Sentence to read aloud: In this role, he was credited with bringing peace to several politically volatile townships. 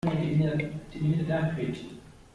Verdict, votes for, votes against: rejected, 0, 2